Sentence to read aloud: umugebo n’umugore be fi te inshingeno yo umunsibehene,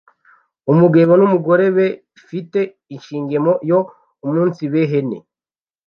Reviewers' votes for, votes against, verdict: 1, 2, rejected